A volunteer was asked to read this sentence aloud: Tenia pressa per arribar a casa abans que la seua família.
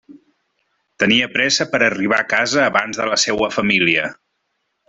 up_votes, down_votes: 1, 2